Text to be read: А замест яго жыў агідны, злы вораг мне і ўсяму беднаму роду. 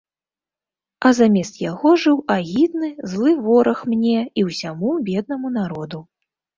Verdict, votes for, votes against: rejected, 0, 4